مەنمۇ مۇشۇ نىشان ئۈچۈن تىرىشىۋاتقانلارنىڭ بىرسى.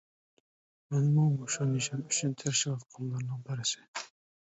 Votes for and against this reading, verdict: 0, 2, rejected